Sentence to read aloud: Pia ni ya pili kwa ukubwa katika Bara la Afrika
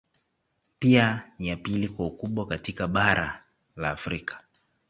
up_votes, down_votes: 0, 2